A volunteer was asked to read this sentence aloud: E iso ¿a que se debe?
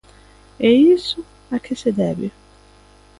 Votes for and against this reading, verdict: 2, 0, accepted